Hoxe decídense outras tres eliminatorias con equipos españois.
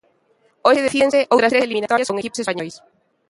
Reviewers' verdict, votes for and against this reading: rejected, 0, 2